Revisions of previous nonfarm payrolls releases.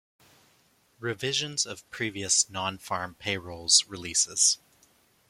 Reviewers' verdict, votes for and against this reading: accepted, 2, 0